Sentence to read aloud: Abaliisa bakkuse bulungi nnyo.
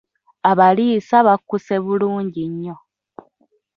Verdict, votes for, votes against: accepted, 2, 1